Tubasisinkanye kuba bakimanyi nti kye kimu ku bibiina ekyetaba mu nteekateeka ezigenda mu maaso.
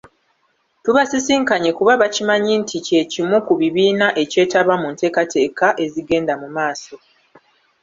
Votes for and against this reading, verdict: 0, 2, rejected